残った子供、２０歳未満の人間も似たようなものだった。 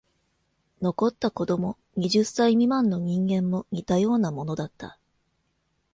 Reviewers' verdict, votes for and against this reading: rejected, 0, 2